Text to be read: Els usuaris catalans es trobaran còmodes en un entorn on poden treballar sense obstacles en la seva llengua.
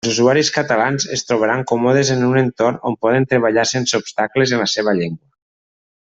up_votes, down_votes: 1, 2